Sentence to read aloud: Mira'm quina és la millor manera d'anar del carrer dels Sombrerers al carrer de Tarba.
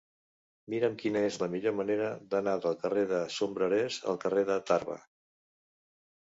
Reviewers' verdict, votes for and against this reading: rejected, 1, 2